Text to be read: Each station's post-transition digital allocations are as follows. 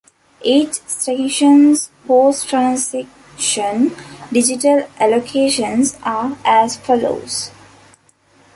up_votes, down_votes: 0, 2